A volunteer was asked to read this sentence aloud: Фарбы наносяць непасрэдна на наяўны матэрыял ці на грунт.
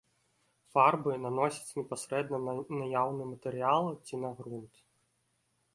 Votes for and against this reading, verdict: 2, 0, accepted